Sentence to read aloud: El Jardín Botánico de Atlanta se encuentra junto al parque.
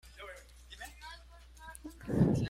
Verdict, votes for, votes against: rejected, 0, 2